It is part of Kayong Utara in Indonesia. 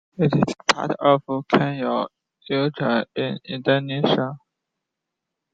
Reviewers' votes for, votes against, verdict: 1, 3, rejected